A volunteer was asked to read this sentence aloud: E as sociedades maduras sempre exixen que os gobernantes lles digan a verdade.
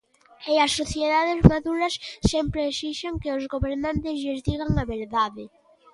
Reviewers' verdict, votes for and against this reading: accepted, 2, 0